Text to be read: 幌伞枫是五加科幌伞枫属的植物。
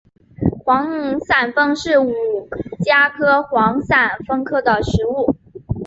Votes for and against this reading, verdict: 2, 0, accepted